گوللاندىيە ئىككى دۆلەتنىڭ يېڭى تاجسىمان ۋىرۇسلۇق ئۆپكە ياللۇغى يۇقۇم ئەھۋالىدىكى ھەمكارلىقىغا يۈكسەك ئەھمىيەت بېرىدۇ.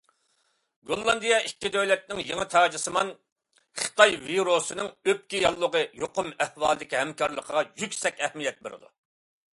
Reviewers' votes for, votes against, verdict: 0, 2, rejected